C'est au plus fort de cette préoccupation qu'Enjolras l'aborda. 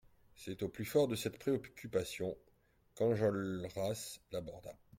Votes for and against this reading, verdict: 1, 2, rejected